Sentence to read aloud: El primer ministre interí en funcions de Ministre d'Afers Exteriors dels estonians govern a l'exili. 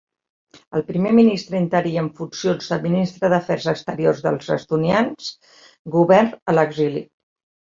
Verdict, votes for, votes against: rejected, 0, 2